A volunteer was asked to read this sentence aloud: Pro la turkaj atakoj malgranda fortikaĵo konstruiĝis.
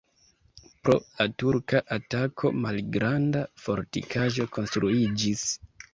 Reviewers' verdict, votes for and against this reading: rejected, 1, 2